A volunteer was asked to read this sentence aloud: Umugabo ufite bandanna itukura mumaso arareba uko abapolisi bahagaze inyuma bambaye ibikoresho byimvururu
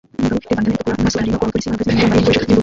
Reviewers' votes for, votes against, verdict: 0, 2, rejected